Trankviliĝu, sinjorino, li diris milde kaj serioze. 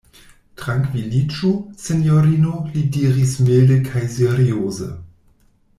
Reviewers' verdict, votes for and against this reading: accepted, 2, 0